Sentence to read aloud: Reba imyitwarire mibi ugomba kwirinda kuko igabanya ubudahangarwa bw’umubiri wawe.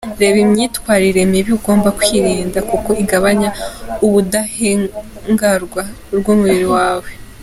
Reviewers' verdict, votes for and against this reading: rejected, 0, 3